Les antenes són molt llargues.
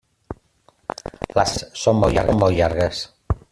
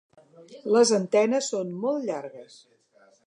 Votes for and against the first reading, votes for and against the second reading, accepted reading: 0, 2, 2, 0, second